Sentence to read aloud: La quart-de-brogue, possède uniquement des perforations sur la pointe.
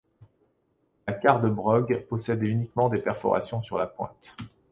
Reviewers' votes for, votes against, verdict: 2, 0, accepted